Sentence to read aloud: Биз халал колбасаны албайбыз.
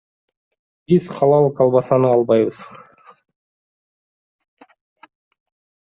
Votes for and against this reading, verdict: 2, 0, accepted